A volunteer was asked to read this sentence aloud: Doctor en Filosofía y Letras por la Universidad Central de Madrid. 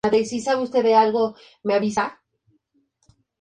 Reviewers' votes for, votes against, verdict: 0, 4, rejected